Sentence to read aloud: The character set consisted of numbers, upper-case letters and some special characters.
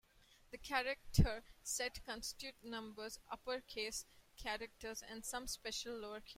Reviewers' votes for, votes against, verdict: 0, 2, rejected